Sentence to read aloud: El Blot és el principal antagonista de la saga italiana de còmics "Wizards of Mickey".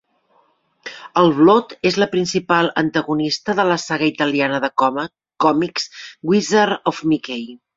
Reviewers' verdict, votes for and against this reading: rejected, 0, 2